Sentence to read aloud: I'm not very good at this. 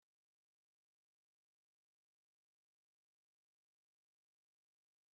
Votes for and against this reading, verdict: 0, 2, rejected